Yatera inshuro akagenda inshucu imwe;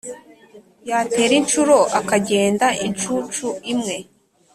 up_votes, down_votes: 2, 0